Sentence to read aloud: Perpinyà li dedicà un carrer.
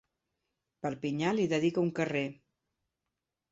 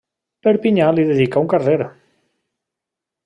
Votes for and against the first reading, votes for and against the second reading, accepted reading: 0, 2, 2, 0, second